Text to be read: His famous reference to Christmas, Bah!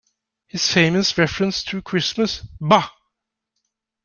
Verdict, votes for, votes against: accepted, 2, 0